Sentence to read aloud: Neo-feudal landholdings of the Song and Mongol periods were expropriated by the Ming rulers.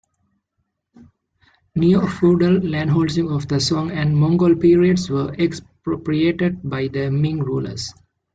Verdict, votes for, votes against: accepted, 2, 0